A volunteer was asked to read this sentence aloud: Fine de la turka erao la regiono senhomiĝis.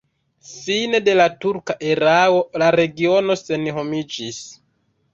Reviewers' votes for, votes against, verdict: 0, 2, rejected